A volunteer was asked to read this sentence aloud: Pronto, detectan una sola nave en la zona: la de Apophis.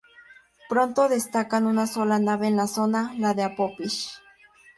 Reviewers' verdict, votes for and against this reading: rejected, 0, 4